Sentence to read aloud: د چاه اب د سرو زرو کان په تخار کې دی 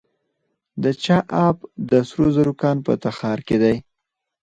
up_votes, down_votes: 4, 2